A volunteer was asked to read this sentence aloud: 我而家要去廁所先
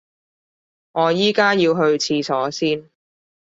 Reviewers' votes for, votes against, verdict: 1, 2, rejected